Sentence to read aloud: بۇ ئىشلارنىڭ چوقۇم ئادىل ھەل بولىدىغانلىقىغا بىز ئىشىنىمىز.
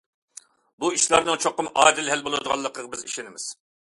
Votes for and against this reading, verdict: 2, 0, accepted